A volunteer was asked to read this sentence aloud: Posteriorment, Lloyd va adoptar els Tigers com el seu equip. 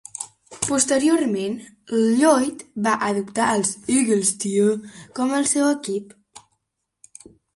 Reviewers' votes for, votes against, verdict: 1, 2, rejected